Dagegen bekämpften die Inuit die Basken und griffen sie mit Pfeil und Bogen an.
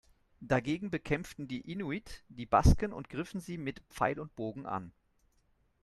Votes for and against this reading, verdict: 2, 0, accepted